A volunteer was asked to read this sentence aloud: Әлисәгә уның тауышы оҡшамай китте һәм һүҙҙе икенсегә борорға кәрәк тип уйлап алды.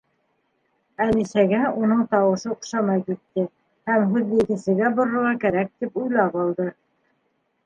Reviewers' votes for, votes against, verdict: 0, 2, rejected